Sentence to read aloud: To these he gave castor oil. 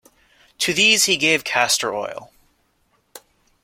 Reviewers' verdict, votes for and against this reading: accepted, 2, 0